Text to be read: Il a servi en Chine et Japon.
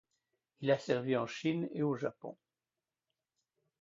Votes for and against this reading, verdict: 1, 2, rejected